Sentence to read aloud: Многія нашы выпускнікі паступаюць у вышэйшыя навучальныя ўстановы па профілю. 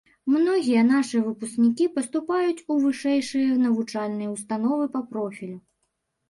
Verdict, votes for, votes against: accepted, 2, 0